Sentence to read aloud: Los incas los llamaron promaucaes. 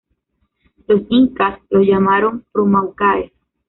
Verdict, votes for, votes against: rejected, 0, 2